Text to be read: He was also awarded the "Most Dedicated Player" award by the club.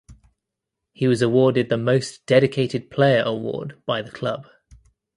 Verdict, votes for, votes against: rejected, 0, 2